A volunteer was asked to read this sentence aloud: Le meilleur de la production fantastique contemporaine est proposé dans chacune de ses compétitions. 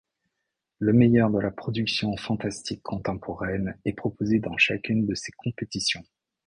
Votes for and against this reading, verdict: 2, 1, accepted